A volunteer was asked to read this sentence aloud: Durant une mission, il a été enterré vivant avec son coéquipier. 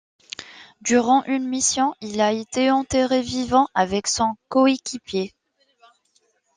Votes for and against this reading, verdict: 2, 0, accepted